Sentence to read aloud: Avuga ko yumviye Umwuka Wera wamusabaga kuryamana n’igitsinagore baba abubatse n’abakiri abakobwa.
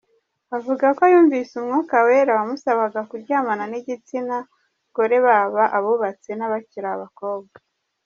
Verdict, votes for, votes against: accepted, 2, 1